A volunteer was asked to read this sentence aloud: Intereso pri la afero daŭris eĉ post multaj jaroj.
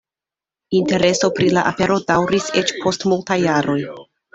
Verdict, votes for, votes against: accepted, 2, 1